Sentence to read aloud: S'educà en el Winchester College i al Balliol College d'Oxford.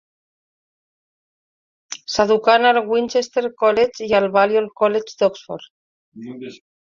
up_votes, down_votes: 2, 1